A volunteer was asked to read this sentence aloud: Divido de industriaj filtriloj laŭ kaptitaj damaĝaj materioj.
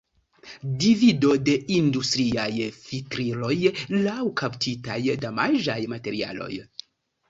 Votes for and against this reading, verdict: 2, 1, accepted